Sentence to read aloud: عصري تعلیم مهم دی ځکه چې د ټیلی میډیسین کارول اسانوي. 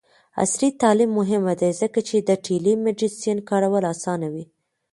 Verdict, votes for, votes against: rejected, 1, 2